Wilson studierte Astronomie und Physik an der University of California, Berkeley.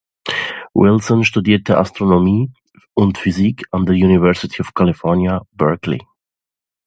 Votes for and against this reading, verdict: 2, 0, accepted